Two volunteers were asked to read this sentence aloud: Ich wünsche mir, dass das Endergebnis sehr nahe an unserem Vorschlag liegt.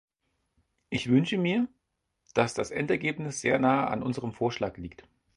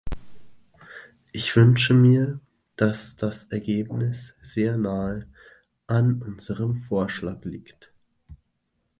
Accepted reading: first